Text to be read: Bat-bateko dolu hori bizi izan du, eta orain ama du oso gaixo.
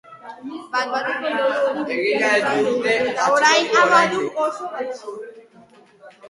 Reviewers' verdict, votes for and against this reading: rejected, 0, 3